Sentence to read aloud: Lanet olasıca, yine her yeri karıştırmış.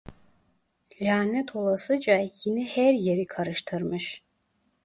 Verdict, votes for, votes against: rejected, 0, 2